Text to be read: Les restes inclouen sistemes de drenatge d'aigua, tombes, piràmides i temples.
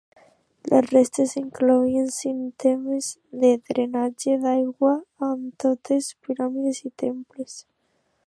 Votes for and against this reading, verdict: 0, 2, rejected